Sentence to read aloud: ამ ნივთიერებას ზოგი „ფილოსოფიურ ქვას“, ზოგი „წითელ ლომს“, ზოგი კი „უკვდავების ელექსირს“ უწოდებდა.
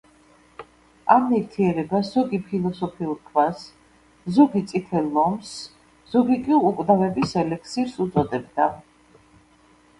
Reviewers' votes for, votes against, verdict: 2, 0, accepted